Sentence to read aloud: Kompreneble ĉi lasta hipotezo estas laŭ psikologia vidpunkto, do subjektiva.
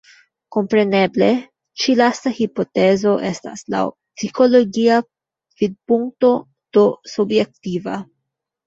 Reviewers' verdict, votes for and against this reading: accepted, 2, 0